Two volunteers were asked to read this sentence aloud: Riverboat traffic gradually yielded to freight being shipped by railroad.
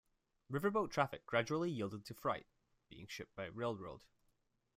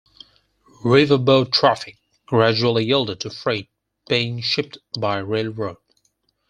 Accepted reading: first